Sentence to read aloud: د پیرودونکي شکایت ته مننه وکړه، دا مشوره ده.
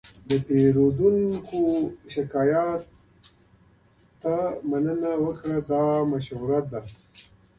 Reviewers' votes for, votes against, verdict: 2, 0, accepted